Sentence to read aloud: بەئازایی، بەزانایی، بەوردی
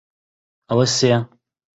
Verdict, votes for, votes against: rejected, 0, 2